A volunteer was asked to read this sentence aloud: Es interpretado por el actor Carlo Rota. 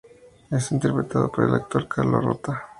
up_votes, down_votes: 2, 0